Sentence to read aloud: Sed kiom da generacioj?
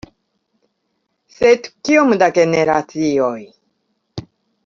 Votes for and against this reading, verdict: 2, 0, accepted